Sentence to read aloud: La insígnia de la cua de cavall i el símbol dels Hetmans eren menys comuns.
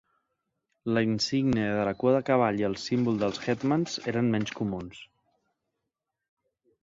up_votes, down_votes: 8, 0